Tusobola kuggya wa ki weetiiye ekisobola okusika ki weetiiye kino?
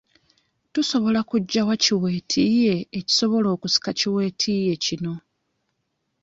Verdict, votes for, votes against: accepted, 2, 0